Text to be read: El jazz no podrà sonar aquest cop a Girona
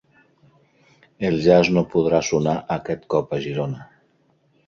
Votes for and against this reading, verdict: 5, 0, accepted